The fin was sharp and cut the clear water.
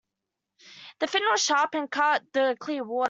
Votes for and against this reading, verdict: 0, 2, rejected